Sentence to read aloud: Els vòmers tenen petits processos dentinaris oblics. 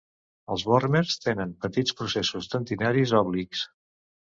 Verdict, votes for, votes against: rejected, 1, 2